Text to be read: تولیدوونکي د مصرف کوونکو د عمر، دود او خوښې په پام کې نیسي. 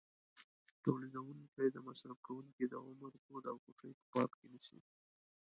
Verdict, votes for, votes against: rejected, 1, 3